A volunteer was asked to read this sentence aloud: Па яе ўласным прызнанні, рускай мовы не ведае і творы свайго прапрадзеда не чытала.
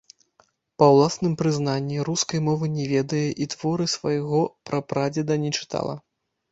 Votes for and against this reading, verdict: 1, 2, rejected